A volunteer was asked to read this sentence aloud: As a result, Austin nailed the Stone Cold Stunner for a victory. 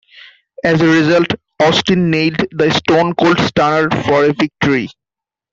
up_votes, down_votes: 0, 2